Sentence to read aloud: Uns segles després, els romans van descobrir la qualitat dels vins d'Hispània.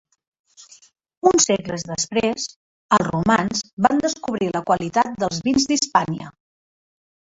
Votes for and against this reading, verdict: 3, 0, accepted